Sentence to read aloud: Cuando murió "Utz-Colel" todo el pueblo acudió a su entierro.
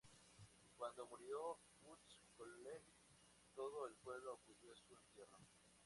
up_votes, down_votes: 0, 2